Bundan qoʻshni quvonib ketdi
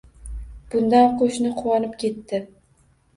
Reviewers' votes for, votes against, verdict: 2, 0, accepted